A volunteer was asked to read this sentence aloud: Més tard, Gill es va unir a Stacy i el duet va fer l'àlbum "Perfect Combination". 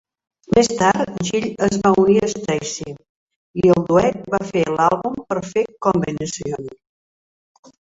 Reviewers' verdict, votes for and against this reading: rejected, 2, 3